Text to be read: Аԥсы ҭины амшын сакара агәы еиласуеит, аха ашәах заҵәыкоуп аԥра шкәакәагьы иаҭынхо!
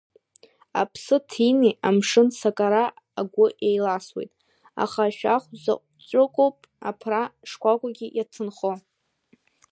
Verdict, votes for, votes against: accepted, 2, 0